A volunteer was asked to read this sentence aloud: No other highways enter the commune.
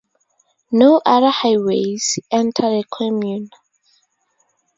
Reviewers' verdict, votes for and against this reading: accepted, 4, 0